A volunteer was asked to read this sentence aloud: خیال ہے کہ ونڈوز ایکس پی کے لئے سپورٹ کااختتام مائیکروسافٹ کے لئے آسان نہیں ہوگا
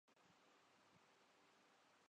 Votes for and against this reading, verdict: 1, 2, rejected